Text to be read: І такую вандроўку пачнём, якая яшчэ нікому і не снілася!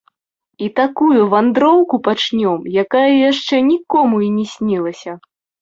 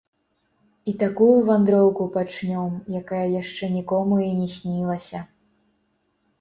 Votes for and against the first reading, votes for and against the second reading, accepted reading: 2, 0, 0, 2, first